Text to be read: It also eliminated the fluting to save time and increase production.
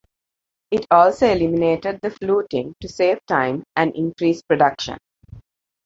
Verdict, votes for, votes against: accepted, 2, 0